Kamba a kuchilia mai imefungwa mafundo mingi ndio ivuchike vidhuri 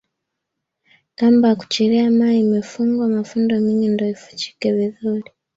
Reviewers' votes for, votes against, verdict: 2, 0, accepted